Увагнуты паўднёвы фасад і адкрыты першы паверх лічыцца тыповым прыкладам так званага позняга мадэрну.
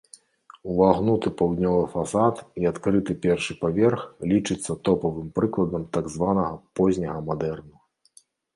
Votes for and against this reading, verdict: 1, 2, rejected